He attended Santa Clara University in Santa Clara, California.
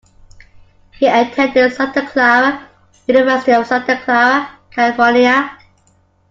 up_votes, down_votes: 0, 2